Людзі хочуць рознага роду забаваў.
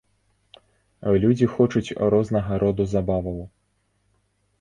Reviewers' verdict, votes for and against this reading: accepted, 2, 0